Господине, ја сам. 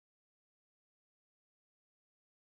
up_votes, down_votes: 0, 2